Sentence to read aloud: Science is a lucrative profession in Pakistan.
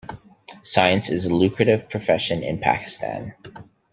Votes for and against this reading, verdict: 2, 0, accepted